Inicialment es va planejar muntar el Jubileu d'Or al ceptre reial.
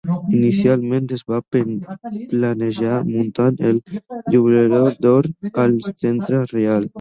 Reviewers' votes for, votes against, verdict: 0, 3, rejected